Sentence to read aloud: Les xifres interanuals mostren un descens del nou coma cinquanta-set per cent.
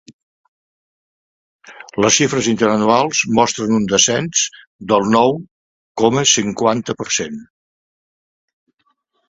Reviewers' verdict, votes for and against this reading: rejected, 0, 2